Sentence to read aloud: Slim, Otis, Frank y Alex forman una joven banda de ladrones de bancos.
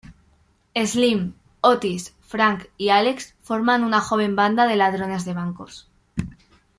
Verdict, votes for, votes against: accepted, 2, 0